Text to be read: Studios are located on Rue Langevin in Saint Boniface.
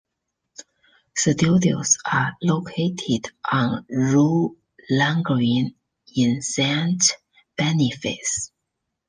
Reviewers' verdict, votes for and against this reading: rejected, 0, 2